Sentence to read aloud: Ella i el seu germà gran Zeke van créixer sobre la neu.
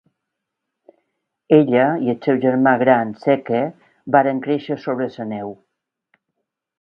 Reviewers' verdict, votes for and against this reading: rejected, 1, 3